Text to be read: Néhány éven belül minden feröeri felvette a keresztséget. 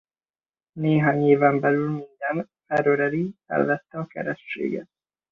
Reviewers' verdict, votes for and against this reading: rejected, 1, 2